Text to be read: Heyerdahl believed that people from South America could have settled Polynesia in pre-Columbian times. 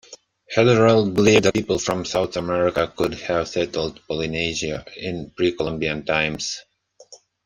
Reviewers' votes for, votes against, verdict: 0, 2, rejected